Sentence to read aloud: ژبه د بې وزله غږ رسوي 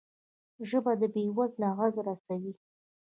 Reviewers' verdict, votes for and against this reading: rejected, 0, 2